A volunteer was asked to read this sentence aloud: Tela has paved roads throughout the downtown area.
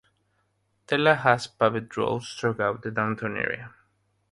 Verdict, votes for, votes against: rejected, 0, 3